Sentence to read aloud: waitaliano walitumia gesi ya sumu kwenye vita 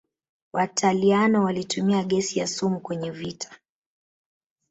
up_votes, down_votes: 0, 2